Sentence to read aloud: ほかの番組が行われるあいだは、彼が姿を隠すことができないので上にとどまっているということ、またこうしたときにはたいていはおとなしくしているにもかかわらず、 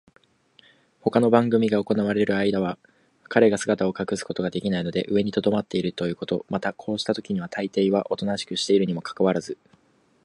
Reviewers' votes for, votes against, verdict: 2, 0, accepted